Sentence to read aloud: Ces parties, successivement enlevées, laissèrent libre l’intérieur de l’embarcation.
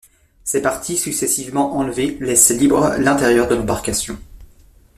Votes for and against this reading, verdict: 1, 2, rejected